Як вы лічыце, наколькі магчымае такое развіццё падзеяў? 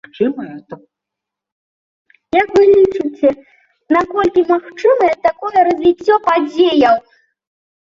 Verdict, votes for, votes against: rejected, 0, 3